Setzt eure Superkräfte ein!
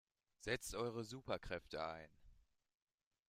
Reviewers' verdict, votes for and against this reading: accepted, 2, 0